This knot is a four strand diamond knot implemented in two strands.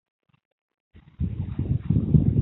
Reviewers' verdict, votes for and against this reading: rejected, 0, 2